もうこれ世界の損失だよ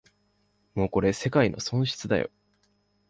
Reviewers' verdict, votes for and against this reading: accepted, 2, 0